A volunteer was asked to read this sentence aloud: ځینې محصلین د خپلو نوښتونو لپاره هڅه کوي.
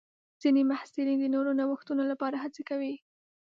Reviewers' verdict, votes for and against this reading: rejected, 3, 5